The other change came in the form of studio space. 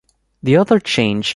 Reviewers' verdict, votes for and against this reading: rejected, 0, 2